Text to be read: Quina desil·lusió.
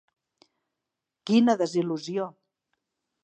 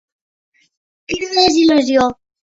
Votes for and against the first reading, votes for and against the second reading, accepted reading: 3, 0, 1, 2, first